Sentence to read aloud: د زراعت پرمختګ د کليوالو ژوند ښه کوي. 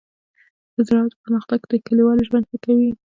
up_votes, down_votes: 3, 0